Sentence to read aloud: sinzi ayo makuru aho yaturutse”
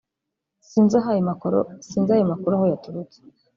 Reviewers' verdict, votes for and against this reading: rejected, 1, 2